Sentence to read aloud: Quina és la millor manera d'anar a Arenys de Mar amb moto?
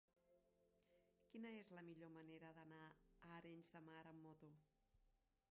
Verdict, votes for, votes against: accepted, 2, 1